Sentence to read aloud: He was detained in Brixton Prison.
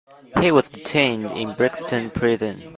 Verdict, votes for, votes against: accepted, 2, 0